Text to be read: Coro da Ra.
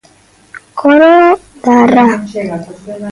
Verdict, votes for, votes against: rejected, 1, 2